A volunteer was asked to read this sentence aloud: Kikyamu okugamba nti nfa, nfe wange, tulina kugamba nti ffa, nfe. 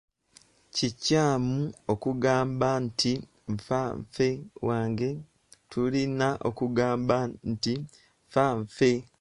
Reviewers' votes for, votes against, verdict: 1, 2, rejected